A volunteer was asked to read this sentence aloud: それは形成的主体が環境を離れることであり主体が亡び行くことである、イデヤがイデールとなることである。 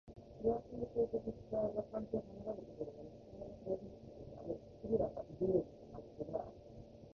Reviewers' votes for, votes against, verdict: 2, 1, accepted